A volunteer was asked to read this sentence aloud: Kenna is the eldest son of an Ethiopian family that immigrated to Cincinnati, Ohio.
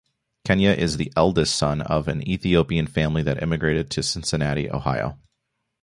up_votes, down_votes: 0, 2